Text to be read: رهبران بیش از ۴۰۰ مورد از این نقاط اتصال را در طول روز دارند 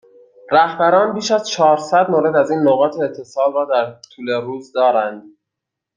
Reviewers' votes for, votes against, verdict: 0, 2, rejected